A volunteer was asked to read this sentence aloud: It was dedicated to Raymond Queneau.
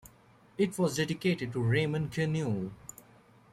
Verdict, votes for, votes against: accepted, 2, 0